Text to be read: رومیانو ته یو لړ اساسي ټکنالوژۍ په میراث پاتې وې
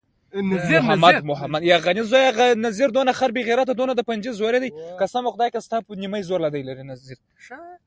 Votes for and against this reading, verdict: 1, 2, rejected